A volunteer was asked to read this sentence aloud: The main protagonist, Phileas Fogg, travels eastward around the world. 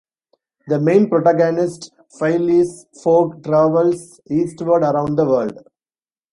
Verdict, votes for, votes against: rejected, 1, 2